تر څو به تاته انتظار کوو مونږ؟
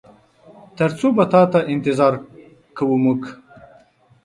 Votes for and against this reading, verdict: 2, 1, accepted